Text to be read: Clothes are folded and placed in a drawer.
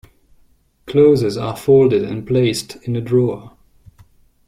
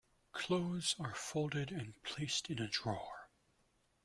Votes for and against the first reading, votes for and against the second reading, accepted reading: 1, 2, 2, 0, second